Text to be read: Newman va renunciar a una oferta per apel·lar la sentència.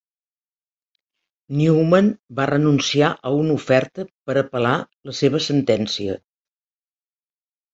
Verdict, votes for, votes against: rejected, 0, 3